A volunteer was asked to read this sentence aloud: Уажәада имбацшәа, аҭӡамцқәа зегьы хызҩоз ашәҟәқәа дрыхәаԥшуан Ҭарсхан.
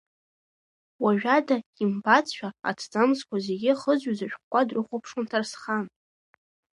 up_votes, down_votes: 2, 0